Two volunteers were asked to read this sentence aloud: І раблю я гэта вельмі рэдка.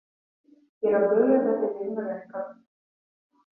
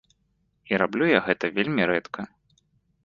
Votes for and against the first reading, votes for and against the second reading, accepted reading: 1, 2, 2, 0, second